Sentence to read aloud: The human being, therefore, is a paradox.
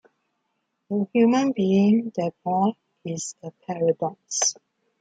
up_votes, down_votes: 2, 0